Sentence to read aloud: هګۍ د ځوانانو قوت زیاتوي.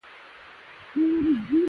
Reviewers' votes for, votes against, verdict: 1, 2, rejected